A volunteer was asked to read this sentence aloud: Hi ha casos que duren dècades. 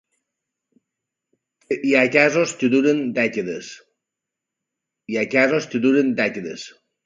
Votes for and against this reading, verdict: 2, 0, accepted